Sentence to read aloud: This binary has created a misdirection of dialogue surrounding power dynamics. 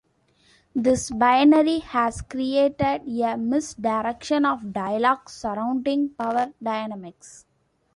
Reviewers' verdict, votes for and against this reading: accepted, 2, 0